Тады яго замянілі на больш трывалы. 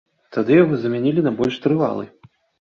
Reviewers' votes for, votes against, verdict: 2, 0, accepted